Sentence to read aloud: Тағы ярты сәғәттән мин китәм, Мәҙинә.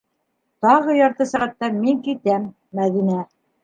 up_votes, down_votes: 3, 0